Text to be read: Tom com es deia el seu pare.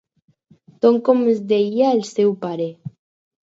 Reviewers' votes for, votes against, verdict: 2, 0, accepted